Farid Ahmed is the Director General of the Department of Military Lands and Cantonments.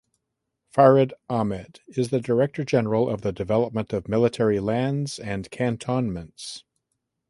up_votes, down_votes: 1, 2